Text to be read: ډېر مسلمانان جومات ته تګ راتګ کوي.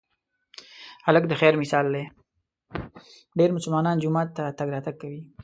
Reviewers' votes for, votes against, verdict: 2, 3, rejected